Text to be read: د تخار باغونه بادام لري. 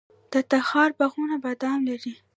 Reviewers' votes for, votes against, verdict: 1, 2, rejected